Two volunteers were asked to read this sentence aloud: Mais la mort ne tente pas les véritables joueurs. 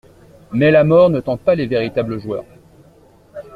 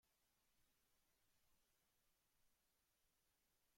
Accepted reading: first